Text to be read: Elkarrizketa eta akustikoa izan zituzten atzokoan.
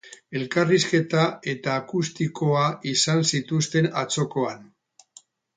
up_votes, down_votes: 6, 0